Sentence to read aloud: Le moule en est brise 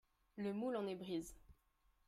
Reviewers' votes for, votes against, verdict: 3, 2, accepted